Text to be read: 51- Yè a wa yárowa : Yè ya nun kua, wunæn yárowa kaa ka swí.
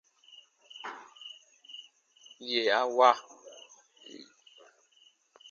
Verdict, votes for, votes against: rejected, 0, 2